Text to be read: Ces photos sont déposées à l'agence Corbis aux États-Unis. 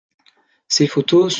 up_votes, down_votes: 0, 2